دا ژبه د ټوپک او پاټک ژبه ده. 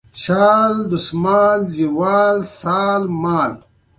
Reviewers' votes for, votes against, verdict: 0, 2, rejected